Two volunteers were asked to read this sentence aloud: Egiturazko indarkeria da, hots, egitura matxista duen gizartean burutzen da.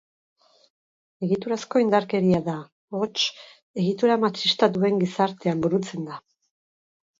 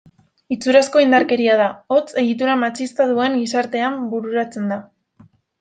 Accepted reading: first